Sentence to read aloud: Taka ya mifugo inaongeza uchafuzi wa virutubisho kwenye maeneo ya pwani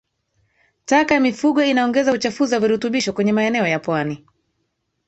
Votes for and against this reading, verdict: 2, 1, accepted